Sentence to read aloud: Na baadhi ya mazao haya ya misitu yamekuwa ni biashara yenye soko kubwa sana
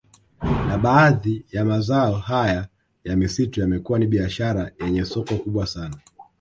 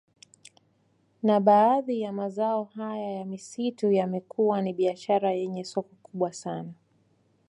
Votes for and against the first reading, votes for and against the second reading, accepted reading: 0, 2, 2, 1, second